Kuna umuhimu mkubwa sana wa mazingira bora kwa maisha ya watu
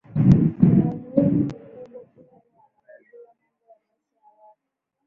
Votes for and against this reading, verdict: 0, 2, rejected